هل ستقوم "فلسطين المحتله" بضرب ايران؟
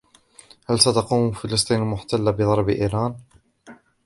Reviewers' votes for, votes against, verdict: 2, 1, accepted